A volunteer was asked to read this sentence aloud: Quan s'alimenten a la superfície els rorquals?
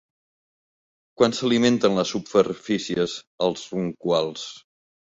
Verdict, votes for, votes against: rejected, 0, 2